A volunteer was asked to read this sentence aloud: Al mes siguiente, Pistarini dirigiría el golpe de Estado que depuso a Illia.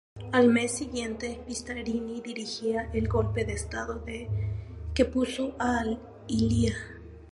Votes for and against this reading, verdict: 0, 4, rejected